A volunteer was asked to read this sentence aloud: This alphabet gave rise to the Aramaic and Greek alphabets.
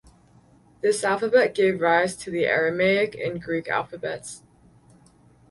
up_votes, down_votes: 2, 2